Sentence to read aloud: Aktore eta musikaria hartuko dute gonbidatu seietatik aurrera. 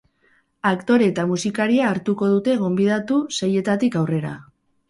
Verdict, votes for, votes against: accepted, 4, 0